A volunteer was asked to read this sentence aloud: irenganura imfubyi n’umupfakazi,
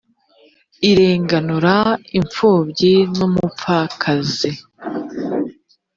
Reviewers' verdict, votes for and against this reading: accepted, 4, 1